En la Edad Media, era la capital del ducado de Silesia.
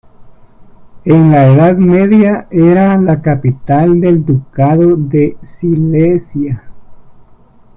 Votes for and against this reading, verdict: 1, 2, rejected